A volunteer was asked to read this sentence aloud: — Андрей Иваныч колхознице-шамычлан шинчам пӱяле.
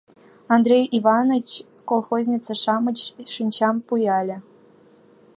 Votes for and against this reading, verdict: 0, 4, rejected